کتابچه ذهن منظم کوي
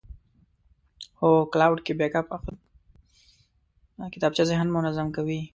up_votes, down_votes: 1, 2